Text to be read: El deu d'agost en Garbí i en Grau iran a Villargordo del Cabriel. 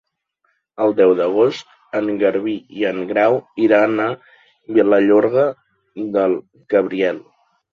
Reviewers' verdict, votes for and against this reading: rejected, 0, 2